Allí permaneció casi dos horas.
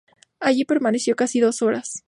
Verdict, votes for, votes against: accepted, 2, 0